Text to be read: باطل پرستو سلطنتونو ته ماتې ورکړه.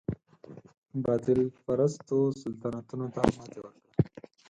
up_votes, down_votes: 6, 0